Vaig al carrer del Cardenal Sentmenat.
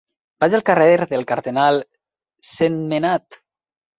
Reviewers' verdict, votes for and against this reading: rejected, 1, 2